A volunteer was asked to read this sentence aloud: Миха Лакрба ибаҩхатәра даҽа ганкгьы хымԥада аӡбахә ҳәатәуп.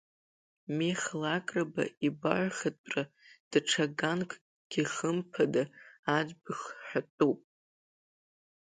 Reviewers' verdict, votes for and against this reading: rejected, 0, 2